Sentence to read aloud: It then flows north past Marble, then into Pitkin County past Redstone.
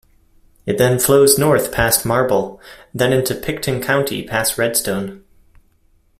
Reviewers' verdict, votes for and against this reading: accepted, 2, 1